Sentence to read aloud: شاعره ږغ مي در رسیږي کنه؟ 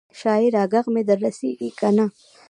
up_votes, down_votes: 1, 2